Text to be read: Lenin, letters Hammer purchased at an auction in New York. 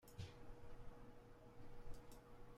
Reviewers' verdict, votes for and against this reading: rejected, 0, 2